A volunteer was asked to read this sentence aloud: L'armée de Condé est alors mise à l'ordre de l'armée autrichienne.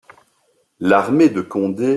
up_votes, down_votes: 0, 2